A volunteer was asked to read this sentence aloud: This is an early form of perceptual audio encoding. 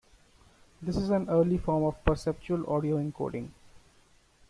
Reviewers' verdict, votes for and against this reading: accepted, 2, 0